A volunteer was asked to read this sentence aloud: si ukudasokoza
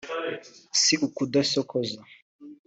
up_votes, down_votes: 2, 1